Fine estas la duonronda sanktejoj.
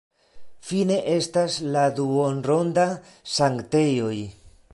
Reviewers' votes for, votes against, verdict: 1, 2, rejected